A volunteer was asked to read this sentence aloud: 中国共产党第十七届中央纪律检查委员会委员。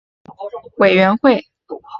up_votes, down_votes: 2, 6